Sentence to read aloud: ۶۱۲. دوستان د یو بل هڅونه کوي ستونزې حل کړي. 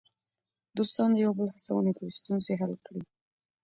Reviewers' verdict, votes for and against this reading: rejected, 0, 2